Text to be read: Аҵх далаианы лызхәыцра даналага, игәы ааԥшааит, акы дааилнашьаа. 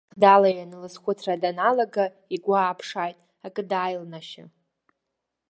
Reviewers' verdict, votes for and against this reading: rejected, 1, 2